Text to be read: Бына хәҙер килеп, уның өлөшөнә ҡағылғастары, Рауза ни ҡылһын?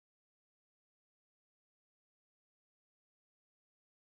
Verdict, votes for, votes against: rejected, 0, 2